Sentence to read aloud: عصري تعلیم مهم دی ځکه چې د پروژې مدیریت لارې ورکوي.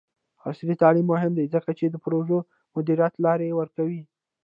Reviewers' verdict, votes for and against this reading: rejected, 1, 2